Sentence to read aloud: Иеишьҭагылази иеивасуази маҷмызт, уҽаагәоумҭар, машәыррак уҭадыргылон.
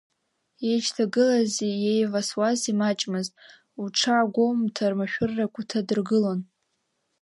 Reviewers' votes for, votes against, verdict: 1, 2, rejected